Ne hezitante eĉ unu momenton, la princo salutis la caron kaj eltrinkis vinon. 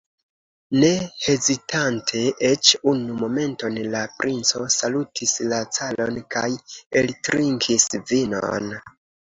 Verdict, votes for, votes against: accepted, 2, 1